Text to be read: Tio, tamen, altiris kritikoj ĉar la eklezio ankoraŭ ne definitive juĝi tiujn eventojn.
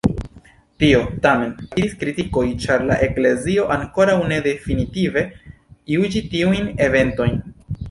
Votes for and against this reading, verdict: 1, 2, rejected